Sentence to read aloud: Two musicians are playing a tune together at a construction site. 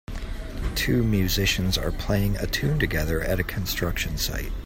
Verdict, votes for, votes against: accepted, 2, 0